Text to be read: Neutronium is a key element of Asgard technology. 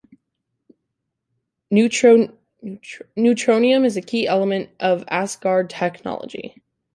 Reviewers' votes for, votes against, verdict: 0, 2, rejected